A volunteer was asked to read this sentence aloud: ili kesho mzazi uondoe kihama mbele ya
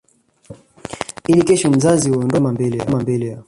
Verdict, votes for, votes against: rejected, 0, 2